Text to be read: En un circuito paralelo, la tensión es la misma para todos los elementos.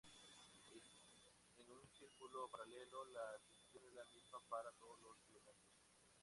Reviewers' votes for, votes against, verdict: 2, 2, rejected